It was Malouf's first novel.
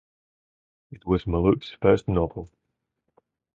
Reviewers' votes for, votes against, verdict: 2, 0, accepted